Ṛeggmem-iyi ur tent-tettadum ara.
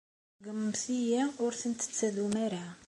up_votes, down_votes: 2, 0